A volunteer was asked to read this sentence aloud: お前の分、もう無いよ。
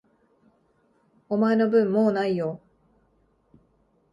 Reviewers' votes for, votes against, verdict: 2, 0, accepted